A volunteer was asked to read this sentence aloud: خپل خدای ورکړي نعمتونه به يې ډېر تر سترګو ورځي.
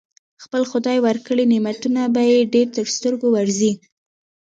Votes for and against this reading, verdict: 2, 0, accepted